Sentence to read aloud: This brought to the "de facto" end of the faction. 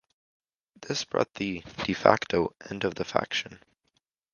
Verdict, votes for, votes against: rejected, 1, 2